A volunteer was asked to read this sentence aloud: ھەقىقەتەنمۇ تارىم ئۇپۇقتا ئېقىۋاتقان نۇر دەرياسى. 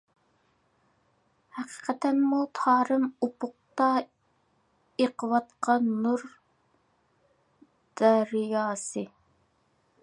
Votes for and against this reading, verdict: 1, 2, rejected